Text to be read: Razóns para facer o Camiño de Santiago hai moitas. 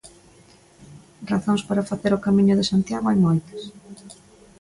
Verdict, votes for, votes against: accepted, 2, 0